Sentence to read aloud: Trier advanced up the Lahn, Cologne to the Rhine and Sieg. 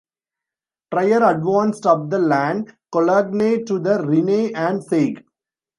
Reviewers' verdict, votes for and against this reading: rejected, 1, 2